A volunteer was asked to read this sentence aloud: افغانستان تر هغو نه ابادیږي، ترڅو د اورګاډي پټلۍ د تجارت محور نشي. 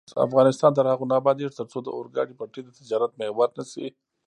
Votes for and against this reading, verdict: 0, 2, rejected